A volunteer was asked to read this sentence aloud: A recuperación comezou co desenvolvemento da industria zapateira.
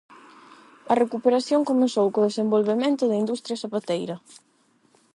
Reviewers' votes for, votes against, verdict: 8, 0, accepted